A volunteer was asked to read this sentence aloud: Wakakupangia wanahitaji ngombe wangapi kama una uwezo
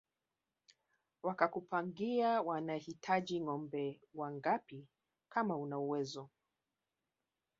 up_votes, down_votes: 0, 3